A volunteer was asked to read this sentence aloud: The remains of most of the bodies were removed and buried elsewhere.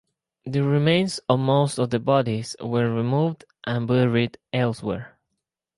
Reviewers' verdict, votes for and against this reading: accepted, 6, 0